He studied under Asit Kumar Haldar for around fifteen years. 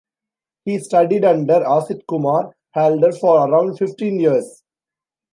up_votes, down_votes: 2, 0